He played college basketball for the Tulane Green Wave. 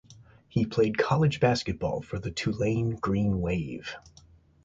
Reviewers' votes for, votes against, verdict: 2, 2, rejected